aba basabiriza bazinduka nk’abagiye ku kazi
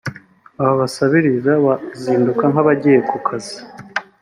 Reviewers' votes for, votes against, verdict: 3, 0, accepted